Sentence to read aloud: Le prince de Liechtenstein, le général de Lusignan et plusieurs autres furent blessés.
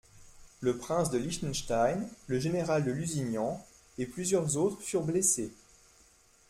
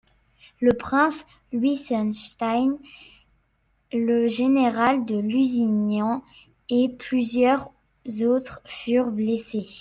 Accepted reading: first